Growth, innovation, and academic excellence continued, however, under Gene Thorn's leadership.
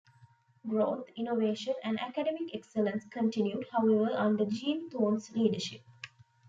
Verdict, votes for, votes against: accepted, 2, 0